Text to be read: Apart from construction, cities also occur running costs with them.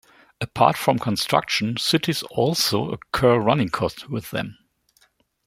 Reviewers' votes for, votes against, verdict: 2, 0, accepted